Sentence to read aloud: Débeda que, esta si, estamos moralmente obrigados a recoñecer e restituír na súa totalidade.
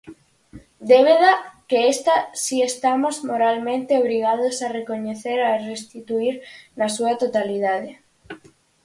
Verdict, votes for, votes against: rejected, 0, 4